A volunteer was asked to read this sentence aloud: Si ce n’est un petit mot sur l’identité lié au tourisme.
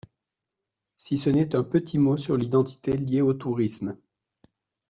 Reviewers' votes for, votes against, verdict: 2, 0, accepted